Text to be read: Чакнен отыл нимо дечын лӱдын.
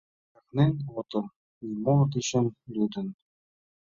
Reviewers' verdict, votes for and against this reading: rejected, 1, 2